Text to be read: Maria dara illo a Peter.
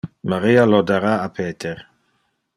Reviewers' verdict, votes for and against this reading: rejected, 1, 2